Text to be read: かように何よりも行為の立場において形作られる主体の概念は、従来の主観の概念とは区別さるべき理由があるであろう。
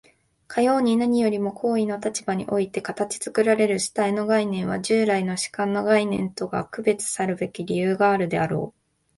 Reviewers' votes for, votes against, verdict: 2, 0, accepted